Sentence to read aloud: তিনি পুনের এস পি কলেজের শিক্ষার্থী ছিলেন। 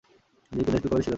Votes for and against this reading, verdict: 0, 2, rejected